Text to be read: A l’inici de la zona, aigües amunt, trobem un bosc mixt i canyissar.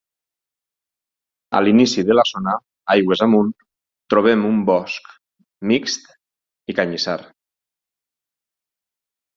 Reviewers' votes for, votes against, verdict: 2, 4, rejected